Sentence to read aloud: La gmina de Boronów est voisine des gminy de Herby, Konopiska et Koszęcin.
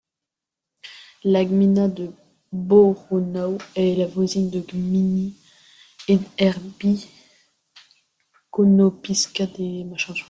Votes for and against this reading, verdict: 0, 2, rejected